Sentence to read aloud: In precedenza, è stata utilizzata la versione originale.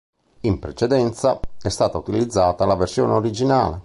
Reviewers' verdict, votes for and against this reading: accepted, 4, 0